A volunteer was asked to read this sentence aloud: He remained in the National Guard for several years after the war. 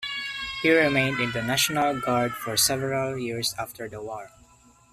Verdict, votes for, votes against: accepted, 2, 0